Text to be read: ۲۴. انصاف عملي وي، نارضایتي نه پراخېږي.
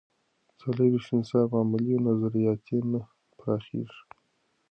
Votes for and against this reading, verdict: 0, 2, rejected